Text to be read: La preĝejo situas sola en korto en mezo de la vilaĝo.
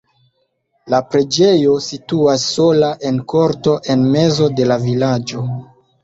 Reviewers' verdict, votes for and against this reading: rejected, 1, 2